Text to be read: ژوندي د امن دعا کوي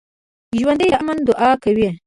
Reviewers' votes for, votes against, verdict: 2, 0, accepted